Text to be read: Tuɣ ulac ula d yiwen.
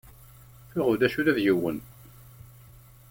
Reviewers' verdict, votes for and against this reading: accepted, 2, 0